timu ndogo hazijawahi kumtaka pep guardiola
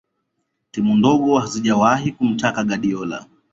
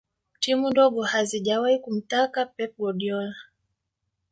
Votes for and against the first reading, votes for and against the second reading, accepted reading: 0, 2, 2, 0, second